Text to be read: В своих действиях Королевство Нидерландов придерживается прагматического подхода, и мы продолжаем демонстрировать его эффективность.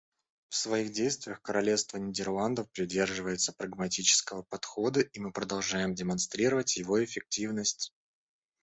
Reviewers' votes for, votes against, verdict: 0, 2, rejected